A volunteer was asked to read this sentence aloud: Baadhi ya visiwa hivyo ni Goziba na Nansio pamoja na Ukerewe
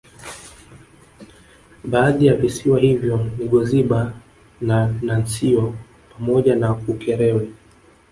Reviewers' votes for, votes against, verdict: 1, 2, rejected